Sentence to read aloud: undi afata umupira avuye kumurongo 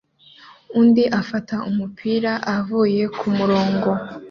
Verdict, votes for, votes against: accepted, 2, 0